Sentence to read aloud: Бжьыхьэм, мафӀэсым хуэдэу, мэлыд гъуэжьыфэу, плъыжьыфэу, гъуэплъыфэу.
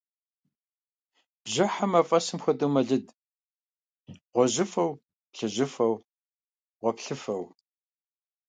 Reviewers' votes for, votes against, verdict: 2, 0, accepted